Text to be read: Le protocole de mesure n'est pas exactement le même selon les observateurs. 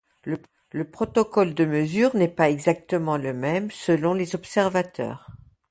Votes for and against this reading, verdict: 2, 0, accepted